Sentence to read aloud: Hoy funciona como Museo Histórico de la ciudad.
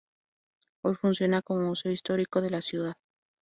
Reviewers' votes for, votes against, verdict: 0, 2, rejected